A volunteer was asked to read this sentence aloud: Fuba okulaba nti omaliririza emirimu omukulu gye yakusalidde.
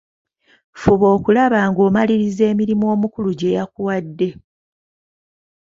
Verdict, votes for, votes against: rejected, 1, 2